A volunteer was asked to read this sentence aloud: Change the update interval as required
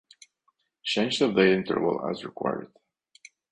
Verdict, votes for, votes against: rejected, 0, 2